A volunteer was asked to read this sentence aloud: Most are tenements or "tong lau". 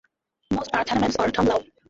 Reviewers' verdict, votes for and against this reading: rejected, 0, 2